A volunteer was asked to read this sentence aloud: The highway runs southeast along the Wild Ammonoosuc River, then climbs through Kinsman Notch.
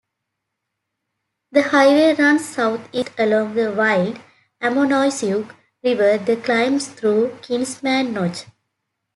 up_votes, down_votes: 2, 1